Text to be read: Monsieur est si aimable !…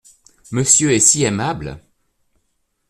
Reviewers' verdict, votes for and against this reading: accepted, 2, 0